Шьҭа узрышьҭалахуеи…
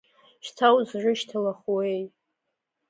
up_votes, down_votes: 2, 0